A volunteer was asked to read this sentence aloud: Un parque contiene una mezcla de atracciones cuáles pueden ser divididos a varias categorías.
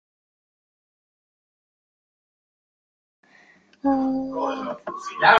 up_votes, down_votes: 0, 2